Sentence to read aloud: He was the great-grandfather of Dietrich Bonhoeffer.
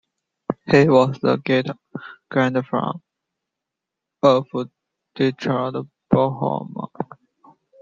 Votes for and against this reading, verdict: 0, 2, rejected